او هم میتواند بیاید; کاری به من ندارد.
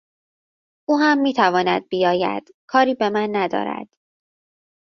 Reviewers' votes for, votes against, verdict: 2, 0, accepted